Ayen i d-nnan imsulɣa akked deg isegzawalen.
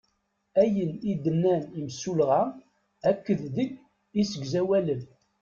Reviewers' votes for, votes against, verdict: 1, 2, rejected